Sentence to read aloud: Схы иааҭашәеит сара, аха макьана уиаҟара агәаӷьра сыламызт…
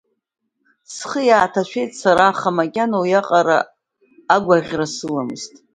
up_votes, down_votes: 2, 0